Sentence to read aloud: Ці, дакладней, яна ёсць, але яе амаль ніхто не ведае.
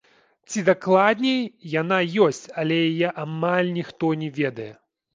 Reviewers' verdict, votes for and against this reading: rejected, 0, 2